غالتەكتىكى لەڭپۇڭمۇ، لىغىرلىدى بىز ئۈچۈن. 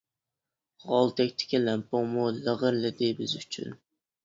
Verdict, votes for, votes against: accepted, 2, 0